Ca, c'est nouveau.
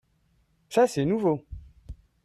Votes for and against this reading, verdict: 2, 0, accepted